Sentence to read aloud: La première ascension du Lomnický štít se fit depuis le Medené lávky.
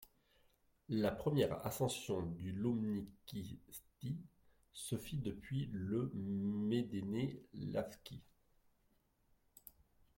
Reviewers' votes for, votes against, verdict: 2, 0, accepted